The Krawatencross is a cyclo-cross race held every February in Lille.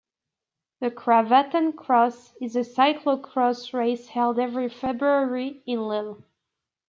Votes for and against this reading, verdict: 1, 2, rejected